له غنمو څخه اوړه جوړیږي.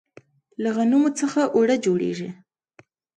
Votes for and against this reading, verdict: 2, 0, accepted